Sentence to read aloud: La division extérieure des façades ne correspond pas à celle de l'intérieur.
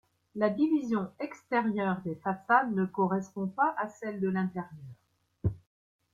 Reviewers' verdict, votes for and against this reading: accepted, 3, 0